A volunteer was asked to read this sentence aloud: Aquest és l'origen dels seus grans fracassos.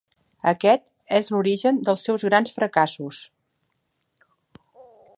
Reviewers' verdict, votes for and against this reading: accepted, 3, 0